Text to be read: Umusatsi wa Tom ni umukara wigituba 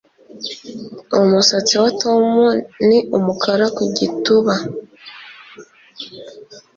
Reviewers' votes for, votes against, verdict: 0, 2, rejected